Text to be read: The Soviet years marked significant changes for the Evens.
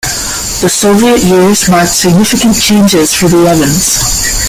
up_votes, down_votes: 2, 0